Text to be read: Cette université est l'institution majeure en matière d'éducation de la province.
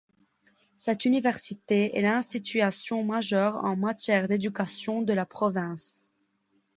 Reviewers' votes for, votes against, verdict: 1, 2, rejected